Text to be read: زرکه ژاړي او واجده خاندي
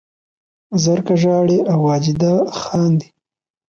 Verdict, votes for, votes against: rejected, 1, 2